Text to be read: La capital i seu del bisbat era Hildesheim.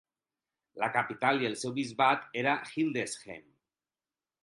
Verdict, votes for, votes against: rejected, 0, 6